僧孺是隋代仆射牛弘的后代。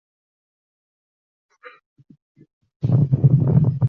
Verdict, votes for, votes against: rejected, 0, 3